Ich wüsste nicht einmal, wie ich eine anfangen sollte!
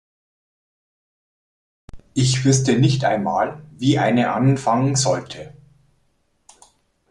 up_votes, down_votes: 1, 2